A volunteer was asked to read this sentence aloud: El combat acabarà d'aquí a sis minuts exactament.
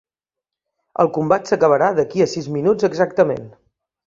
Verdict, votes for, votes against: rejected, 0, 3